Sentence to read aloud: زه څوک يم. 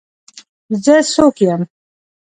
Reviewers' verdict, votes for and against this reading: rejected, 1, 2